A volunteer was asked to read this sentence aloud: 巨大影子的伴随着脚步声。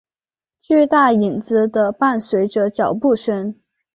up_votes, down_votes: 6, 0